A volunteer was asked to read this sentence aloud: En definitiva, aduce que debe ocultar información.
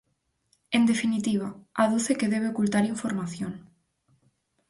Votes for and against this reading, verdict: 4, 0, accepted